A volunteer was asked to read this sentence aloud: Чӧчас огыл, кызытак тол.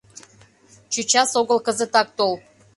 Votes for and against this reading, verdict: 2, 0, accepted